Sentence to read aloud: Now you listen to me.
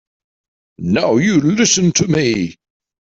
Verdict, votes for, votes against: accepted, 2, 1